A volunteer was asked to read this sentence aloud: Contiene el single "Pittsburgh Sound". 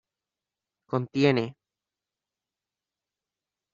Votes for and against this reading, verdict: 0, 2, rejected